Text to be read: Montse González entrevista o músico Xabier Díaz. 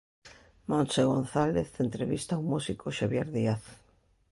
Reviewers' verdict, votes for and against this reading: accepted, 2, 0